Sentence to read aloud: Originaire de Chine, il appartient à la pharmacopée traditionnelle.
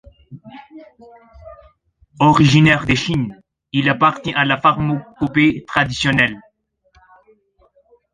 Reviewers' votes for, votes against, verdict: 1, 2, rejected